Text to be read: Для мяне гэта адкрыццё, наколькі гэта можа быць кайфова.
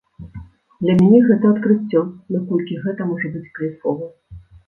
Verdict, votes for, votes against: accepted, 2, 0